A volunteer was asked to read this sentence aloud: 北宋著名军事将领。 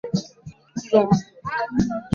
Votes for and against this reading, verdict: 0, 2, rejected